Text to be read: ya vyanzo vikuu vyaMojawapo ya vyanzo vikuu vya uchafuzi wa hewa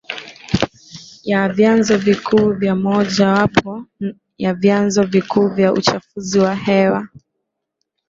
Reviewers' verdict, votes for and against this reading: accepted, 2, 0